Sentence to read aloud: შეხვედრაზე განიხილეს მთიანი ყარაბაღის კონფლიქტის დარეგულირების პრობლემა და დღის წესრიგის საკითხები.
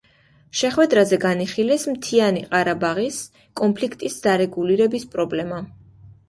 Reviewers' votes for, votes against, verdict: 2, 1, accepted